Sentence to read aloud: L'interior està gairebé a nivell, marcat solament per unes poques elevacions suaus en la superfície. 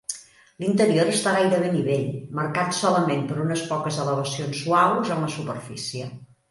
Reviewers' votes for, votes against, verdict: 3, 0, accepted